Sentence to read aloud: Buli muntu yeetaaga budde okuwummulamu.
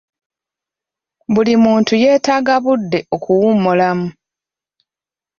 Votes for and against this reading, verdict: 2, 0, accepted